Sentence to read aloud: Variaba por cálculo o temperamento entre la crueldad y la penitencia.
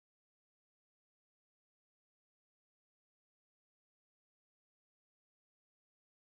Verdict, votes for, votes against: rejected, 0, 2